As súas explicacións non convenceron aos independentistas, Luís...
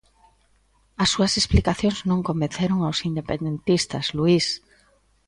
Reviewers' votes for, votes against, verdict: 2, 0, accepted